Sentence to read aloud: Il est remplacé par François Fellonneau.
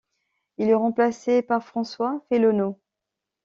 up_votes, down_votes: 2, 1